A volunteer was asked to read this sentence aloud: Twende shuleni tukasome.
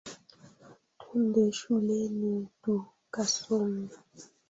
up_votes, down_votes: 1, 2